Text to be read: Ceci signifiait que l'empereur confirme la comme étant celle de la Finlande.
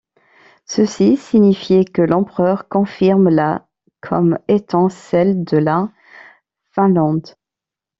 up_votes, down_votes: 2, 1